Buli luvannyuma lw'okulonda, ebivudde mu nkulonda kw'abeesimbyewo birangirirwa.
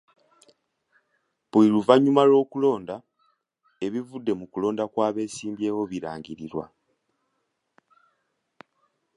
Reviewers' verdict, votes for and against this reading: accepted, 2, 1